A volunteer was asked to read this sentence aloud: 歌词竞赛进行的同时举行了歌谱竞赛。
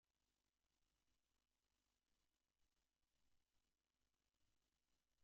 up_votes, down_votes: 0, 2